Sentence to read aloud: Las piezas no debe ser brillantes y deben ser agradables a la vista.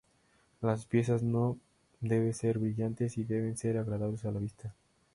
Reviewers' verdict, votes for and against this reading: accepted, 2, 0